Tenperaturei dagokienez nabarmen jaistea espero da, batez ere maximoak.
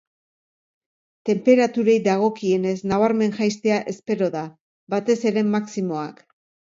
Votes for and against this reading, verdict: 2, 0, accepted